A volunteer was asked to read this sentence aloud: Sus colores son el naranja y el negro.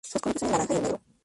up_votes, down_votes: 0, 2